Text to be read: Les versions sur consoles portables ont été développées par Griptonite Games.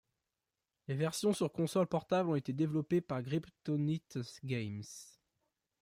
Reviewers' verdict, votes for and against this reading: rejected, 0, 2